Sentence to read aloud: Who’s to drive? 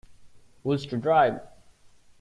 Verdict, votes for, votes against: accepted, 2, 0